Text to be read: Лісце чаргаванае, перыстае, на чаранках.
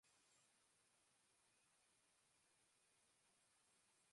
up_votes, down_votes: 0, 2